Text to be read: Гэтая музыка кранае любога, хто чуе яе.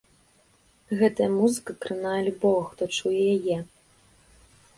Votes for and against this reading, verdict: 2, 0, accepted